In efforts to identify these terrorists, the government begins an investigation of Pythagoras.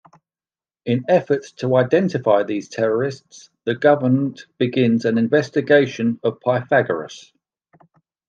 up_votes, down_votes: 2, 0